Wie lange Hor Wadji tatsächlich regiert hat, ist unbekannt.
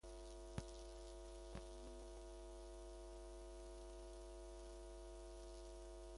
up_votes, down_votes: 0, 2